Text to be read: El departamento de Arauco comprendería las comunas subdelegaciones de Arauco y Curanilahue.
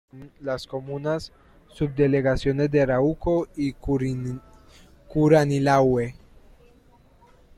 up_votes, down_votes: 0, 2